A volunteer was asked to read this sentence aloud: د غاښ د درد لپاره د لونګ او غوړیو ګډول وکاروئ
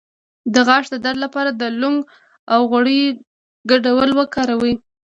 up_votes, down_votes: 2, 0